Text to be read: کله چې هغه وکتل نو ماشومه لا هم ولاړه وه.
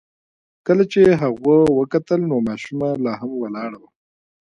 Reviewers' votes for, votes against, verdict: 0, 2, rejected